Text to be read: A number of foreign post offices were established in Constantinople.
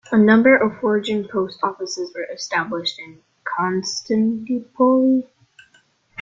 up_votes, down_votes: 0, 2